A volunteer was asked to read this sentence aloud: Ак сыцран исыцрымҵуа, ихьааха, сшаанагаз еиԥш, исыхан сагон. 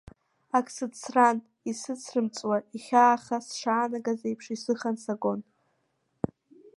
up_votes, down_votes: 1, 2